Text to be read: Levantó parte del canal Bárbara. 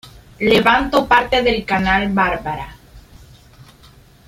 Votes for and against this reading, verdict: 1, 2, rejected